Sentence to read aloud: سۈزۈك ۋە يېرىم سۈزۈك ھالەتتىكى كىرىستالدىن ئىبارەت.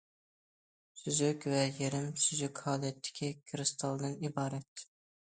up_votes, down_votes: 2, 0